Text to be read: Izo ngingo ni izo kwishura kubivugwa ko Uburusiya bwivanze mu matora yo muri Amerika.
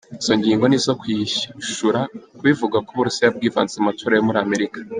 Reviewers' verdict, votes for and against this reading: accepted, 2, 1